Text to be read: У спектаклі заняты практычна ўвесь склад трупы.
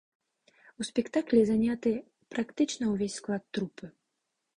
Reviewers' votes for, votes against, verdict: 2, 0, accepted